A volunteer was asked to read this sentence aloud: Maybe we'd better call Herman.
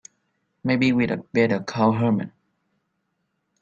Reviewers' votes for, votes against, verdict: 2, 4, rejected